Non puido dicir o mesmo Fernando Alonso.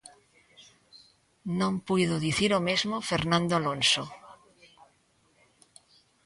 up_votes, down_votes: 2, 0